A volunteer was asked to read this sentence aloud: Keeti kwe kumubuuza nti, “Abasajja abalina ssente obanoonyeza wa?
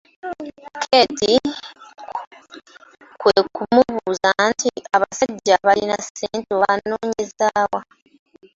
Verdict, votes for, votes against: rejected, 1, 2